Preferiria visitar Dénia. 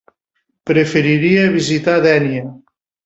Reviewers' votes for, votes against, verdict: 4, 0, accepted